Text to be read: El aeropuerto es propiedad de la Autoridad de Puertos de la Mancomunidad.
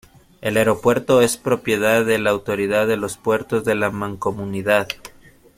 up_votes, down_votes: 1, 2